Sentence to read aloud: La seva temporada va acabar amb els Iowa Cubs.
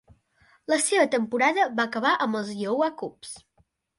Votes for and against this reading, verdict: 2, 0, accepted